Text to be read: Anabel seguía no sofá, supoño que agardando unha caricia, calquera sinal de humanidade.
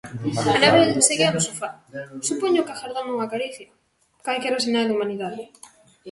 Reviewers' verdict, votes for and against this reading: rejected, 0, 2